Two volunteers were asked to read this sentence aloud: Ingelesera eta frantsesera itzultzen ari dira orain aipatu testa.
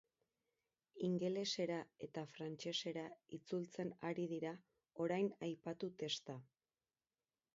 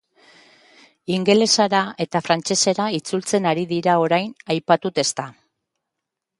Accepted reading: first